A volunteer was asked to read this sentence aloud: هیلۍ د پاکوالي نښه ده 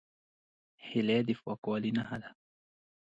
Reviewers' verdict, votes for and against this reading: accepted, 2, 0